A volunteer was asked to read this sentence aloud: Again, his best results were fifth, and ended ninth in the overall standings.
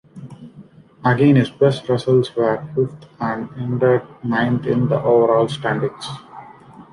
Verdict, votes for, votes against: rejected, 1, 2